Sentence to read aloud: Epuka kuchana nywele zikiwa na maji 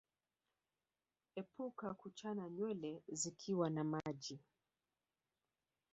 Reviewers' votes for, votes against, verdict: 0, 3, rejected